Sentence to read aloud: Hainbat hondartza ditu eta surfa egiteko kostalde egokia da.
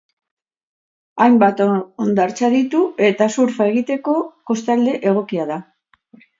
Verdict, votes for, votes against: rejected, 2, 2